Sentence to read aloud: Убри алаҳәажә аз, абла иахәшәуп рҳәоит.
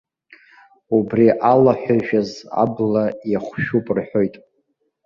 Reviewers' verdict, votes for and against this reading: rejected, 0, 2